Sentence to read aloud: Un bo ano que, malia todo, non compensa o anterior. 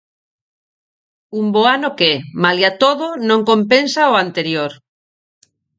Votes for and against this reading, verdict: 4, 0, accepted